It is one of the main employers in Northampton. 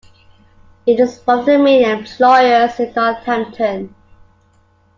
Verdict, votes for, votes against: accepted, 2, 0